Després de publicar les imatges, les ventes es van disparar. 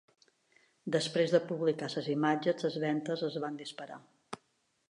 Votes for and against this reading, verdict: 1, 2, rejected